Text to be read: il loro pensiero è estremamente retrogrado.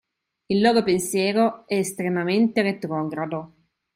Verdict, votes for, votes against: accepted, 2, 0